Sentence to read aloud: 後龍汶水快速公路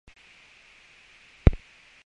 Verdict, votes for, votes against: rejected, 0, 2